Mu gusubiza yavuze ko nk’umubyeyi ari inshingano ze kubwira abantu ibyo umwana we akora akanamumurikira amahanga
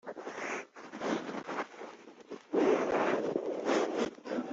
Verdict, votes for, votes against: rejected, 0, 2